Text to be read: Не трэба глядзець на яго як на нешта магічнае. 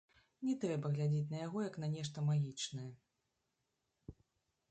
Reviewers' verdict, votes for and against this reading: accepted, 2, 1